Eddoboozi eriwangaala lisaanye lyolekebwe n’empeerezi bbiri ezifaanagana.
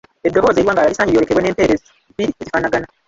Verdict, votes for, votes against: rejected, 1, 2